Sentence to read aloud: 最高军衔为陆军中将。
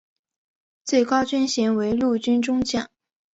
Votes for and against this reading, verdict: 2, 0, accepted